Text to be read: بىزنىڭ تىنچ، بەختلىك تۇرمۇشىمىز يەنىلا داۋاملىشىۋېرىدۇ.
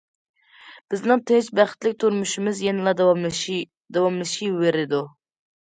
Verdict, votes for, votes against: rejected, 0, 2